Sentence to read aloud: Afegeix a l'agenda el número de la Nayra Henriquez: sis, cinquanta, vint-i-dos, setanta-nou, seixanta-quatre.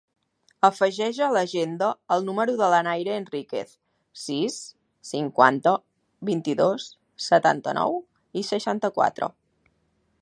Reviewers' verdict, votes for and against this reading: rejected, 0, 2